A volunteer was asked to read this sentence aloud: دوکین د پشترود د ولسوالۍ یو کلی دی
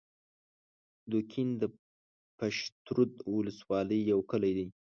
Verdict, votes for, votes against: accepted, 2, 0